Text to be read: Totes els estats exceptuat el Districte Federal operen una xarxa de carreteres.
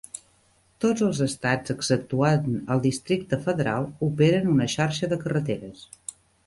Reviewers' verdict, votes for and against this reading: rejected, 1, 2